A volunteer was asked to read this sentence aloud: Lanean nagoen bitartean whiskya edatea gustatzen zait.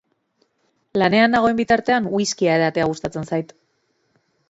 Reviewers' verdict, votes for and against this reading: accepted, 2, 0